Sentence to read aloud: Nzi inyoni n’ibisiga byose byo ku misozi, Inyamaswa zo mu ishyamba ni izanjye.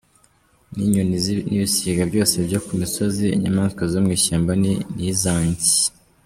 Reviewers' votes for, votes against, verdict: 0, 2, rejected